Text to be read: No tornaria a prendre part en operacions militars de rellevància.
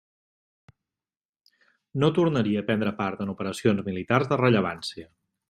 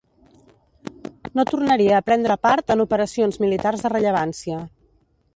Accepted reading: first